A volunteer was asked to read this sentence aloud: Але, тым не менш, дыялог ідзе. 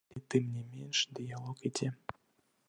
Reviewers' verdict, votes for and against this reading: accepted, 2, 1